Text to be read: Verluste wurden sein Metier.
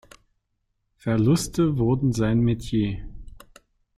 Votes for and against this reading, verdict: 2, 0, accepted